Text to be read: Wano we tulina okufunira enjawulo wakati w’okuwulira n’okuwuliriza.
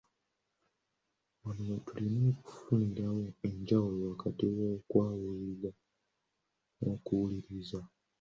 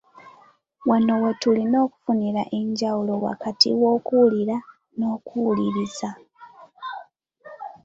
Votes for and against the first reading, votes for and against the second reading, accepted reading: 0, 2, 3, 0, second